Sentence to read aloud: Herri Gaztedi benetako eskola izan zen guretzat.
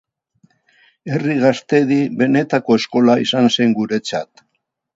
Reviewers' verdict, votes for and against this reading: accepted, 2, 0